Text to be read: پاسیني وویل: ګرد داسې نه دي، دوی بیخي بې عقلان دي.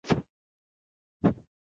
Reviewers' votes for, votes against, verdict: 0, 3, rejected